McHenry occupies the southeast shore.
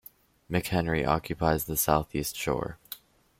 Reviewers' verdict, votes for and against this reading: accepted, 2, 0